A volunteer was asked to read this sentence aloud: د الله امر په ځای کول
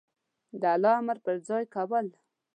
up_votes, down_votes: 2, 0